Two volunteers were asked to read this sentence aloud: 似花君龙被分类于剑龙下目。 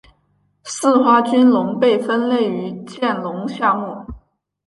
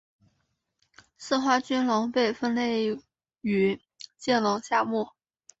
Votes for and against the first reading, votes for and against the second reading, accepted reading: 2, 0, 1, 3, first